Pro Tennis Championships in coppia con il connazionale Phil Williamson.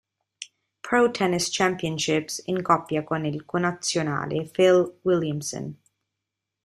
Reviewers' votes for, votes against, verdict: 2, 0, accepted